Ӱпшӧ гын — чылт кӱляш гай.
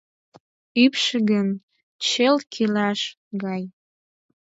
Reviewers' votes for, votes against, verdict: 4, 2, accepted